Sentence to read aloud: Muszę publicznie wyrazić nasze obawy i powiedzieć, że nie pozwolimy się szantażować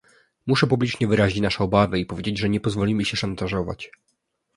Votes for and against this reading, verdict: 3, 0, accepted